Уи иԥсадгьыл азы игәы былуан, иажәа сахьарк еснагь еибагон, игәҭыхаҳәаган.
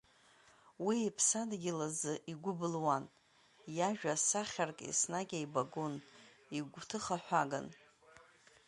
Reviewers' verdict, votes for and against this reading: accepted, 2, 0